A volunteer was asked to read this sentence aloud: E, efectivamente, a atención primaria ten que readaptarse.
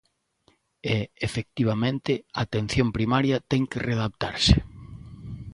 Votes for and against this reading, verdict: 2, 0, accepted